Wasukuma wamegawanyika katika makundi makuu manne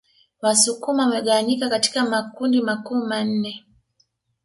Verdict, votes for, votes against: accepted, 2, 0